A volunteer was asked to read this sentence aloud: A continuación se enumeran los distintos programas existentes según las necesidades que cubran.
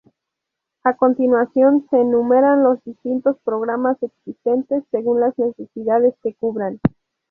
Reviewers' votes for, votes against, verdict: 0, 2, rejected